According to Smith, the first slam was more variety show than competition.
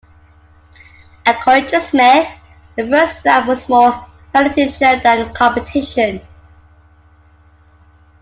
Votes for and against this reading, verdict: 0, 2, rejected